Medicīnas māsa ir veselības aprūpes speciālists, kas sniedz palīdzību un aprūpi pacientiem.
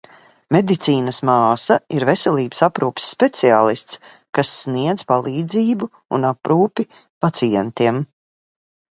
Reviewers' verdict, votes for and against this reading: accepted, 2, 0